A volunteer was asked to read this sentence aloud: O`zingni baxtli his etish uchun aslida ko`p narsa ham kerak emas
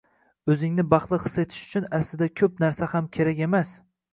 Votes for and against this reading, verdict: 2, 0, accepted